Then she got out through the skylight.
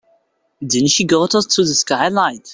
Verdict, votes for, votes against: rejected, 1, 2